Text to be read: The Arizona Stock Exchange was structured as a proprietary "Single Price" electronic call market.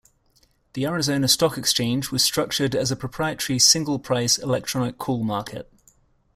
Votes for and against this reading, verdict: 2, 0, accepted